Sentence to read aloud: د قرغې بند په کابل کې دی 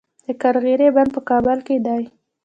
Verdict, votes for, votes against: rejected, 1, 2